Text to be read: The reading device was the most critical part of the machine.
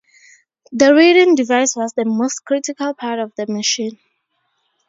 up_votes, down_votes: 2, 0